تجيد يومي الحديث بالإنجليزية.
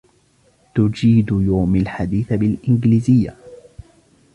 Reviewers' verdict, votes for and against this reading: accepted, 2, 0